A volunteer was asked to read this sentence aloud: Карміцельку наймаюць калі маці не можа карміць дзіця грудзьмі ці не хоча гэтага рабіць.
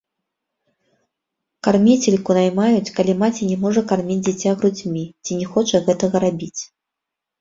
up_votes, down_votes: 1, 2